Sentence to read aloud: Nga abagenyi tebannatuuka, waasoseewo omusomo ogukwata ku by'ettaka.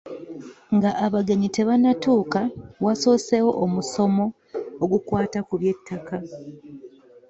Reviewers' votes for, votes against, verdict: 2, 0, accepted